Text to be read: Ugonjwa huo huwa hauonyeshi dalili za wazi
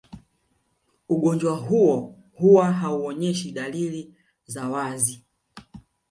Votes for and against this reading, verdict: 0, 2, rejected